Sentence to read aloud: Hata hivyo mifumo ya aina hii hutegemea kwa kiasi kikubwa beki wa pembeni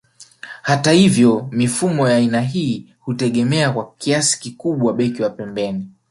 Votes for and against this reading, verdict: 1, 2, rejected